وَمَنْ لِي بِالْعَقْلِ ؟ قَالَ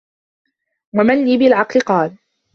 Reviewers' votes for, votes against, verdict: 2, 1, accepted